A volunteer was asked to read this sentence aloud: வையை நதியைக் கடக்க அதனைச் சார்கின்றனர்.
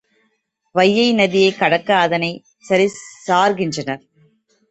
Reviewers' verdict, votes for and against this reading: rejected, 0, 2